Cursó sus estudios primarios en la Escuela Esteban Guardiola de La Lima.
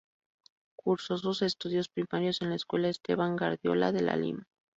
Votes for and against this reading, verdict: 0, 2, rejected